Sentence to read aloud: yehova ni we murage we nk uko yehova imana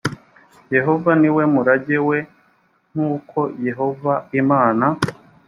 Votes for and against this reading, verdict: 2, 0, accepted